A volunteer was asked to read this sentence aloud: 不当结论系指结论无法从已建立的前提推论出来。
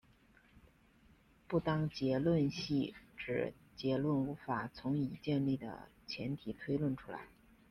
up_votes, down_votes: 2, 0